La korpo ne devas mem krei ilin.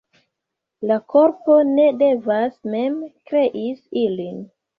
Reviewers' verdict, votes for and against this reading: accepted, 2, 1